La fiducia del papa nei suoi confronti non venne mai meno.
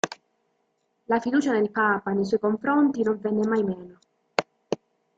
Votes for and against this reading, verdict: 2, 0, accepted